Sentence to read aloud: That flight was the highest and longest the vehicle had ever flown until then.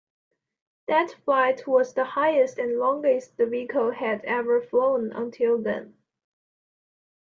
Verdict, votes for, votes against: accepted, 2, 0